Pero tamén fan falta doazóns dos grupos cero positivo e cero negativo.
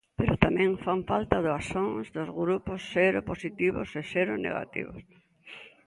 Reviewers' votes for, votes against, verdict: 0, 2, rejected